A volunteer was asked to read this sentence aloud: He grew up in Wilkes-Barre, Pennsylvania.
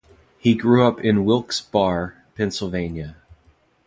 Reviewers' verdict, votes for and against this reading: rejected, 0, 2